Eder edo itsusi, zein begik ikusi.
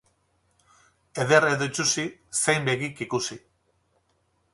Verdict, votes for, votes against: rejected, 2, 2